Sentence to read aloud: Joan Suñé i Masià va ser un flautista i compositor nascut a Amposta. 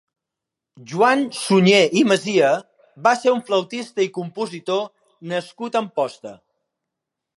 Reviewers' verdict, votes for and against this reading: rejected, 1, 3